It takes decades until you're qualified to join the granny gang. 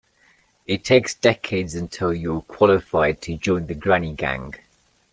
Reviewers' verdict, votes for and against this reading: rejected, 1, 2